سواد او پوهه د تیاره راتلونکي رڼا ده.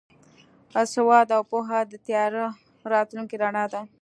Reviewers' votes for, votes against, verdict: 2, 0, accepted